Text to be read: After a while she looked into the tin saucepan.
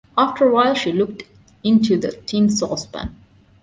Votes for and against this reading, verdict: 2, 0, accepted